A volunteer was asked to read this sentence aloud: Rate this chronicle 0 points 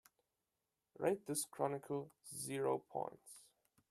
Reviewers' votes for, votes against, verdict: 0, 2, rejected